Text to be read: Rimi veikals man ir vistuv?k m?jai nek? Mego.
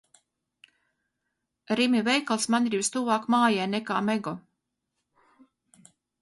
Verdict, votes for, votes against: rejected, 2, 4